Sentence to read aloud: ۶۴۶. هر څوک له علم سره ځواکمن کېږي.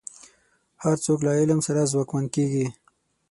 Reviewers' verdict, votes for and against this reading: rejected, 0, 2